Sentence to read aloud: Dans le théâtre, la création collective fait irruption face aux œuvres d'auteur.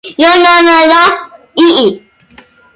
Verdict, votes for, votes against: rejected, 0, 2